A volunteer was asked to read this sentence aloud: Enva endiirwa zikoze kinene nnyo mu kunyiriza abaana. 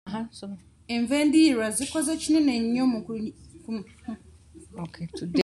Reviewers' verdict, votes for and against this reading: rejected, 1, 3